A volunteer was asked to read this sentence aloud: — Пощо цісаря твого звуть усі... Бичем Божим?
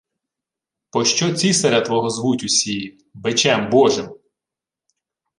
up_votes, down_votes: 0, 2